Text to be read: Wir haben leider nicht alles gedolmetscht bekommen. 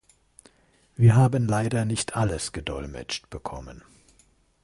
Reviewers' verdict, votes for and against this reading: accepted, 2, 0